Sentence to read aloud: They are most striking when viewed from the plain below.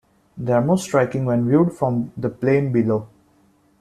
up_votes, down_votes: 2, 0